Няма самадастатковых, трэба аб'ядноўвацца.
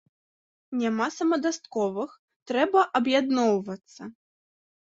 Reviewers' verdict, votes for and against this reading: rejected, 0, 2